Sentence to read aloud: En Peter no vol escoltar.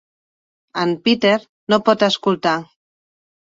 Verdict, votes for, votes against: rejected, 0, 2